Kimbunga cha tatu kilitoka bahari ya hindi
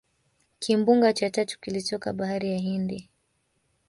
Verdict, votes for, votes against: accepted, 2, 0